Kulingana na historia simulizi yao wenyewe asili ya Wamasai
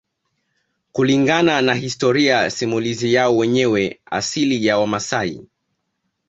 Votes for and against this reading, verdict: 2, 1, accepted